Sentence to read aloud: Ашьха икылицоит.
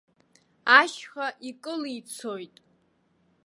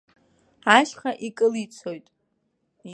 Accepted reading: second